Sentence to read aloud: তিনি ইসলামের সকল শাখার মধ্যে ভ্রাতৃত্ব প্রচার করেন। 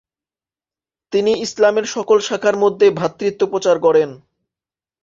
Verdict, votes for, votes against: accepted, 2, 0